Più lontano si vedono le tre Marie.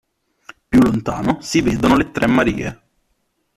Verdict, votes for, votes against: accepted, 2, 0